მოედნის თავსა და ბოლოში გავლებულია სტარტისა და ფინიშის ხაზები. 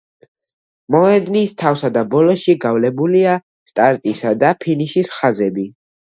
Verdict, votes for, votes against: accepted, 2, 1